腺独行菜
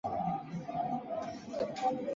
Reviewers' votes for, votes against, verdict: 0, 3, rejected